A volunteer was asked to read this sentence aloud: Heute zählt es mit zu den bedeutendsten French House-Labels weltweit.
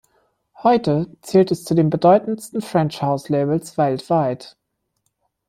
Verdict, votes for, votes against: rejected, 1, 2